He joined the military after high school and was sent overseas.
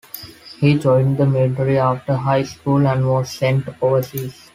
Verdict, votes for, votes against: accepted, 2, 0